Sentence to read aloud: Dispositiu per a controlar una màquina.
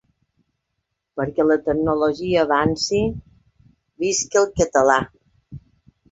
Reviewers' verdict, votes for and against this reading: rejected, 1, 2